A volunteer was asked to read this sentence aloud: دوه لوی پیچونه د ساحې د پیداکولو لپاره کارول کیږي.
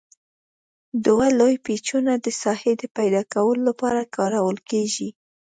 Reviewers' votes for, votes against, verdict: 2, 0, accepted